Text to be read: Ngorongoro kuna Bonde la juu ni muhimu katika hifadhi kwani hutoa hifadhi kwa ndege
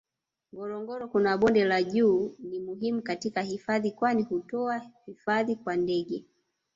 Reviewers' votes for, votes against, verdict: 1, 2, rejected